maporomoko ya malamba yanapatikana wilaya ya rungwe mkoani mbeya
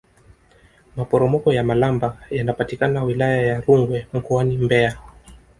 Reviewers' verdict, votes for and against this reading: accepted, 2, 0